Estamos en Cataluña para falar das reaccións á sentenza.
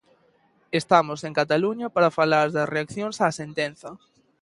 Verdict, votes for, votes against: accepted, 2, 0